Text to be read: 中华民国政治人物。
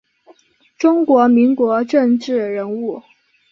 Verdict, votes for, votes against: rejected, 1, 2